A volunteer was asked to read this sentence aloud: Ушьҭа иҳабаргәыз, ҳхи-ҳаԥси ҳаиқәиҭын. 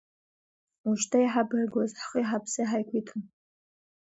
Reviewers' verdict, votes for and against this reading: rejected, 0, 2